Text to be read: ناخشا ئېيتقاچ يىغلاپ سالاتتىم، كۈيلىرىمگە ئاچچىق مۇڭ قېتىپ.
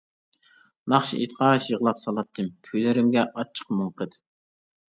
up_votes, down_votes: 0, 2